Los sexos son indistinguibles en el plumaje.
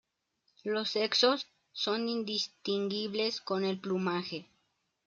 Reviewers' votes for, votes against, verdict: 0, 2, rejected